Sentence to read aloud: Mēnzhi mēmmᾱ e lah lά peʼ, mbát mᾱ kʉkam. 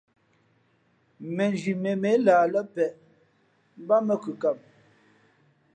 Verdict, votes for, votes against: accepted, 2, 0